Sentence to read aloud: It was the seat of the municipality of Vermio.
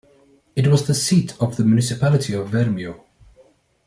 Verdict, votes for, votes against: accepted, 2, 0